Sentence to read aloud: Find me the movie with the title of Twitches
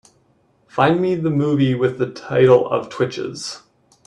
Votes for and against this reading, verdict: 2, 0, accepted